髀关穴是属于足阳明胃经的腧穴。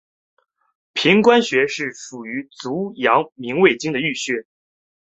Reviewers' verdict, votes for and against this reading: accepted, 3, 1